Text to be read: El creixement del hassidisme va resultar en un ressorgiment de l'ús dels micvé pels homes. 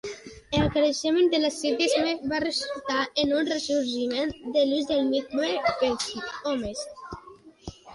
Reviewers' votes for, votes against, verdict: 0, 2, rejected